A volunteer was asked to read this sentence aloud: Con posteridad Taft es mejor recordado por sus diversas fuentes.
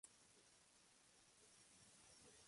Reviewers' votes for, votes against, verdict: 0, 2, rejected